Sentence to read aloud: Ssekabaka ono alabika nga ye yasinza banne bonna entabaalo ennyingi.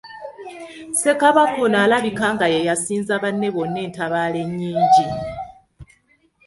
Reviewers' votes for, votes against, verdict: 0, 2, rejected